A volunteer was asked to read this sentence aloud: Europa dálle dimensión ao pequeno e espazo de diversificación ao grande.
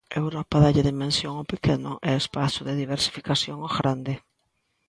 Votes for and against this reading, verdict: 3, 0, accepted